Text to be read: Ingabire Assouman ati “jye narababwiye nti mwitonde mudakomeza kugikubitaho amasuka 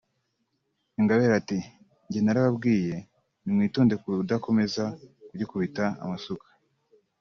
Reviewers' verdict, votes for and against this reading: rejected, 1, 2